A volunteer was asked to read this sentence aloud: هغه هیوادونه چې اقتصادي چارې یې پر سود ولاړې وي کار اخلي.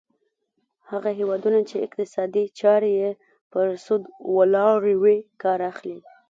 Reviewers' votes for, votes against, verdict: 1, 2, rejected